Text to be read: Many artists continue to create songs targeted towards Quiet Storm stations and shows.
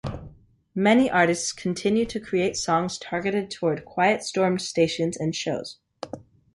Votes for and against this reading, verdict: 3, 1, accepted